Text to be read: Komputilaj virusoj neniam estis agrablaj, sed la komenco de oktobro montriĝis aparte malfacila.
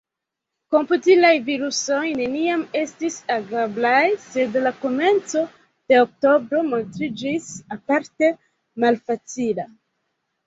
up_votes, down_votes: 1, 2